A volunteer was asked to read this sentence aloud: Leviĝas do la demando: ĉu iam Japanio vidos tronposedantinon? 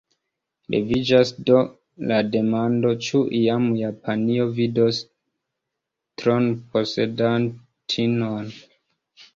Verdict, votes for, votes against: accepted, 2, 0